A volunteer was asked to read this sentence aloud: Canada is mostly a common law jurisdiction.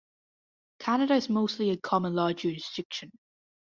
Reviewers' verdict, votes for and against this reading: rejected, 1, 2